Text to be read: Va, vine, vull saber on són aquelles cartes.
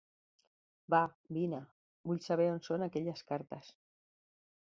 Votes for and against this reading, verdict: 3, 0, accepted